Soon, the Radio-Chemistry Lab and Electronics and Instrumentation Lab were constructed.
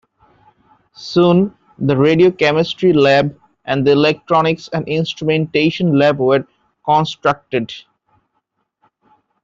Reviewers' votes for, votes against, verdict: 0, 2, rejected